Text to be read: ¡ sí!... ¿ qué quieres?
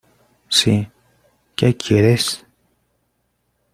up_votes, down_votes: 2, 0